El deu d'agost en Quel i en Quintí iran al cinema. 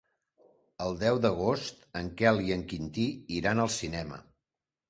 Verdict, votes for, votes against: accepted, 3, 0